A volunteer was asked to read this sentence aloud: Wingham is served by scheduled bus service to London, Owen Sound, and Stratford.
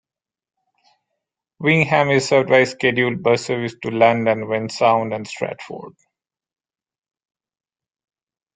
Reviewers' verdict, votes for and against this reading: rejected, 1, 2